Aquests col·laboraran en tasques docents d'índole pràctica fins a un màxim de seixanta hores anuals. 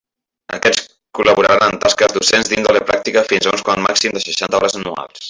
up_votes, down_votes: 0, 2